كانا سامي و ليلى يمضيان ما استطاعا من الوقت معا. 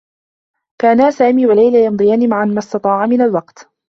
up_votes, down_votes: 0, 2